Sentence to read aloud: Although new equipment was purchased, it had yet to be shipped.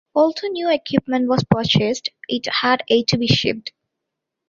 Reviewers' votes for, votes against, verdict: 0, 2, rejected